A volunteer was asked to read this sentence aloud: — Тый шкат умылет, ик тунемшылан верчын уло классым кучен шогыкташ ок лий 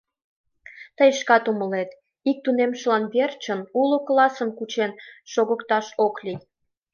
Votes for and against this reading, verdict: 2, 0, accepted